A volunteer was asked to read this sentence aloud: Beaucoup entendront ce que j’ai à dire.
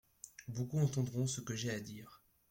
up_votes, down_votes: 2, 0